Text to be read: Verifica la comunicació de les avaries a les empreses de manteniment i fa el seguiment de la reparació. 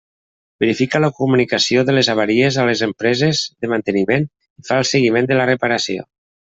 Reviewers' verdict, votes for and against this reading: accepted, 2, 0